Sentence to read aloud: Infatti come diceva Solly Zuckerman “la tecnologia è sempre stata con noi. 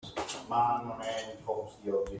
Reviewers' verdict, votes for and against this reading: rejected, 0, 2